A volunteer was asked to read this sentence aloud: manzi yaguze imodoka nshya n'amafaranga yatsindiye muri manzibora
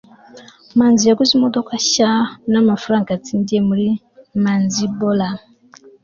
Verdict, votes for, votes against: accepted, 2, 0